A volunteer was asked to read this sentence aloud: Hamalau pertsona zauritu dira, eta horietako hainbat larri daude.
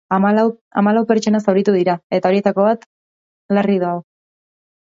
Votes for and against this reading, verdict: 0, 2, rejected